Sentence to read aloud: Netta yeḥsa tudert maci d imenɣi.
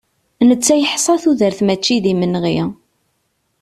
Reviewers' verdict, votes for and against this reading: accepted, 2, 0